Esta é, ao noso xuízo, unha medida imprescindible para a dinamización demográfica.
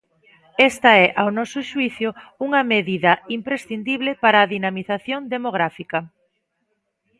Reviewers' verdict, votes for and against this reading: rejected, 0, 2